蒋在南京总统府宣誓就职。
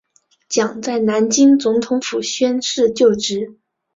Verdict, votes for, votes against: accepted, 2, 0